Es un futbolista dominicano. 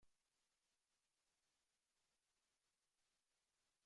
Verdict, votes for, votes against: rejected, 0, 2